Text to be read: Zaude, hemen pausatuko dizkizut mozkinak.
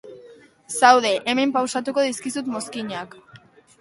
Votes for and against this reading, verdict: 2, 0, accepted